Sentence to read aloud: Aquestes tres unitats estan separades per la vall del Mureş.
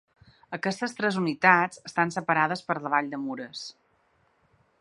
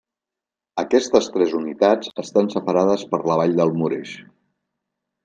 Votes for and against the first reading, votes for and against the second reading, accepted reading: 0, 2, 2, 0, second